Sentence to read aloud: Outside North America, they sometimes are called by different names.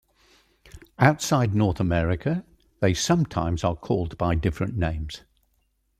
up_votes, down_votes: 2, 0